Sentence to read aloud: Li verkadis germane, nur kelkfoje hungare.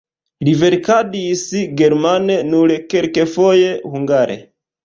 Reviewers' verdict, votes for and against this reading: rejected, 0, 2